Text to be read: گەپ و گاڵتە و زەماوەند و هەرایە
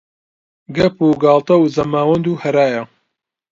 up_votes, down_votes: 2, 0